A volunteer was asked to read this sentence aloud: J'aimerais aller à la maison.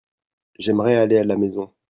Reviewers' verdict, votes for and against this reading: rejected, 0, 2